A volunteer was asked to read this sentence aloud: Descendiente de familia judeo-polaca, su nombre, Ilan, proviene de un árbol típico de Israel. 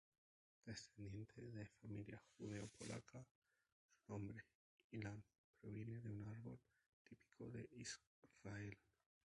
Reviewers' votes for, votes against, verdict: 2, 2, rejected